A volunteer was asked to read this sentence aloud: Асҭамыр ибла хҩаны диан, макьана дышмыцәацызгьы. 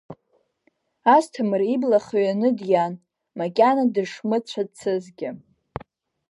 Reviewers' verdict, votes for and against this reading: accepted, 2, 0